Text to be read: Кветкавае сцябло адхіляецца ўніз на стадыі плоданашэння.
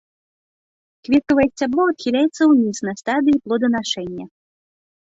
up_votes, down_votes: 2, 0